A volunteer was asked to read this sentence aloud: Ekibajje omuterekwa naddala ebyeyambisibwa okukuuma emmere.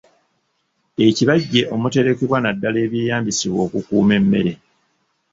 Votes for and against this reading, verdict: 0, 2, rejected